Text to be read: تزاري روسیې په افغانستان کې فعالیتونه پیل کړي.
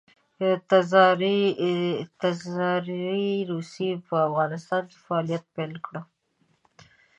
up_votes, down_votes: 0, 2